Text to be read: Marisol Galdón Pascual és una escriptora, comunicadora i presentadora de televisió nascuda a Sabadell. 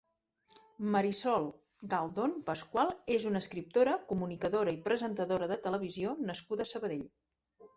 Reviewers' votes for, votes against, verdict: 2, 0, accepted